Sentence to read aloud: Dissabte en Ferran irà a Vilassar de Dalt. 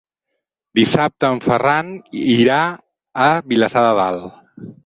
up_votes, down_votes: 6, 0